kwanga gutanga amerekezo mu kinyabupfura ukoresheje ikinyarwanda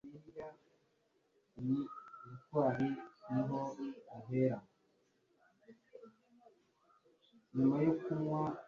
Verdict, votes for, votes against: rejected, 1, 2